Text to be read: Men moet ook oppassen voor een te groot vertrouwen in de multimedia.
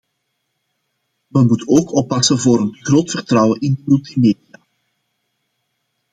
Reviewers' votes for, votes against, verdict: 2, 0, accepted